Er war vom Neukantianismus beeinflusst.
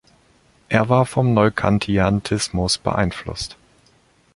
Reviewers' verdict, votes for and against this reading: rejected, 1, 2